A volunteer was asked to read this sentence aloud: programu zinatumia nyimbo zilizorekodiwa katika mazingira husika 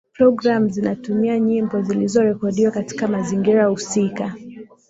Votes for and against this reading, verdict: 2, 0, accepted